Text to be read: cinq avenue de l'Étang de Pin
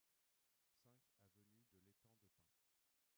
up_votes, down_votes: 0, 2